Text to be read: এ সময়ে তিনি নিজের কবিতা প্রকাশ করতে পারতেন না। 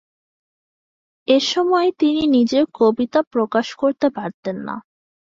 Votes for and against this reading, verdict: 2, 0, accepted